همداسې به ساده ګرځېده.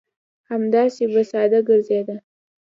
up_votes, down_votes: 3, 0